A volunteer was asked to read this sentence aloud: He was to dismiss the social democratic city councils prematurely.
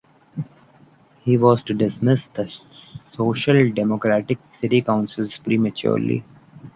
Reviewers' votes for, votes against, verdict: 0, 2, rejected